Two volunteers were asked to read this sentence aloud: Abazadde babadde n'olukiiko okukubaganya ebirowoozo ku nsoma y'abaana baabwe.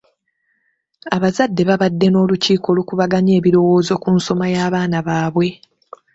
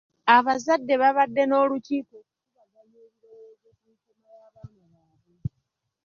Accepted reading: first